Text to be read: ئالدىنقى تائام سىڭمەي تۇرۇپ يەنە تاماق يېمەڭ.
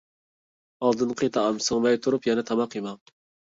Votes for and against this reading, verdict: 1, 2, rejected